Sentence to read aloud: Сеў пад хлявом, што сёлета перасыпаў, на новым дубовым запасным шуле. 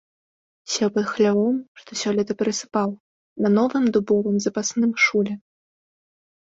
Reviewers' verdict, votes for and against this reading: accepted, 2, 0